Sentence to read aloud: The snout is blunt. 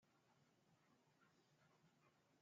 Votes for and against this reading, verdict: 0, 2, rejected